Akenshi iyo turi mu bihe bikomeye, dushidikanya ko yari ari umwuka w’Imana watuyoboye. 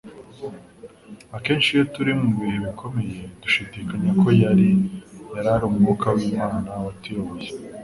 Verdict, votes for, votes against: accepted, 3, 0